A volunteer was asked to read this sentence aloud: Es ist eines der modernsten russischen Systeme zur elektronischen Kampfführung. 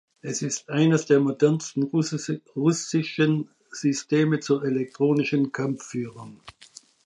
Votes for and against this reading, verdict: 0, 2, rejected